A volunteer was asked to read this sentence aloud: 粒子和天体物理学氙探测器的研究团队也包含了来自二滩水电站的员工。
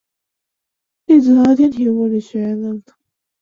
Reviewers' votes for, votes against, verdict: 0, 6, rejected